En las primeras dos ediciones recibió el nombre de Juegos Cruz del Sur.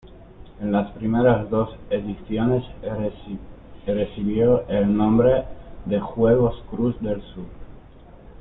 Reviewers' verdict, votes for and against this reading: rejected, 0, 2